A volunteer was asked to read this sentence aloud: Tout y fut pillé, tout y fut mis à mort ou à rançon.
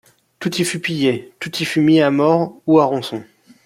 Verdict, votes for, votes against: rejected, 0, 2